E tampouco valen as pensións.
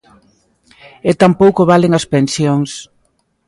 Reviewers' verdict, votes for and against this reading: accepted, 2, 1